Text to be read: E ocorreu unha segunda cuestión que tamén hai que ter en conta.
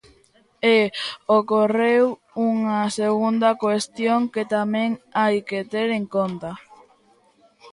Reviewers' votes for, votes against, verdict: 1, 2, rejected